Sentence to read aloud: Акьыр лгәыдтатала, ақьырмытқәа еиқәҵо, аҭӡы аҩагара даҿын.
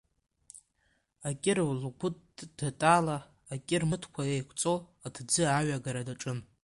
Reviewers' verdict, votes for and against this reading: rejected, 0, 2